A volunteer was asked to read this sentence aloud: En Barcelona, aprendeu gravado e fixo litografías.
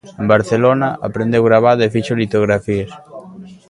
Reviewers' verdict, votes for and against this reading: rejected, 1, 2